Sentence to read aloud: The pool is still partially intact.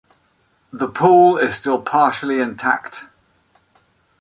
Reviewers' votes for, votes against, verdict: 2, 0, accepted